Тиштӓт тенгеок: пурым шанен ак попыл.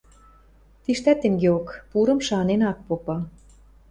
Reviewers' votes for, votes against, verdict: 0, 2, rejected